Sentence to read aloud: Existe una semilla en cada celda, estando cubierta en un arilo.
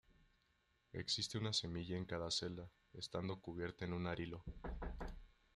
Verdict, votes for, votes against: rejected, 0, 2